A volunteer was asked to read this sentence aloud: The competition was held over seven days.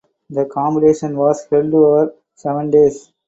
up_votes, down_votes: 4, 2